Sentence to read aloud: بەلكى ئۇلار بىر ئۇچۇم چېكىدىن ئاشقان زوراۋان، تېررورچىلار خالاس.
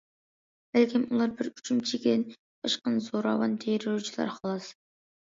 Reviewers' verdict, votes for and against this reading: rejected, 0, 2